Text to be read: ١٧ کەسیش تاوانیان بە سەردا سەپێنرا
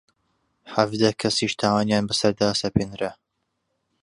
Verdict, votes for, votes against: rejected, 0, 2